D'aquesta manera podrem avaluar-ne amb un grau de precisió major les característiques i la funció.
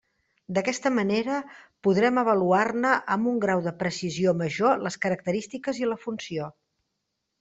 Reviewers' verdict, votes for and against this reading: accepted, 3, 0